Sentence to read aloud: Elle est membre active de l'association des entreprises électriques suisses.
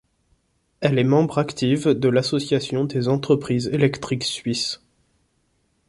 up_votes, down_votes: 2, 0